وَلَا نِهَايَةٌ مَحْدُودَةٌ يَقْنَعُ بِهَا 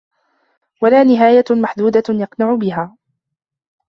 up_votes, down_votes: 2, 0